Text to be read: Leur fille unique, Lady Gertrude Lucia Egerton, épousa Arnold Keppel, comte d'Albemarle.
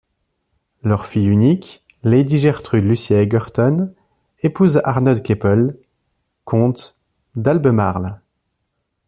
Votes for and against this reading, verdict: 2, 0, accepted